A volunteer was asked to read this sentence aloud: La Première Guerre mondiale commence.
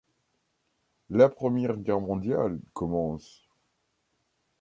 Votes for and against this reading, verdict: 1, 2, rejected